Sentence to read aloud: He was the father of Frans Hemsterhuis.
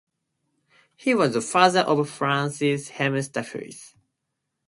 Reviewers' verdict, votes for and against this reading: accepted, 2, 0